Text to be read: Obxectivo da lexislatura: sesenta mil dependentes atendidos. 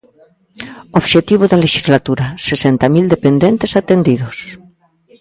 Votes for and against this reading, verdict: 2, 0, accepted